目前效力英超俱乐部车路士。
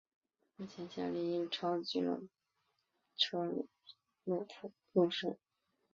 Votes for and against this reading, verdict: 0, 4, rejected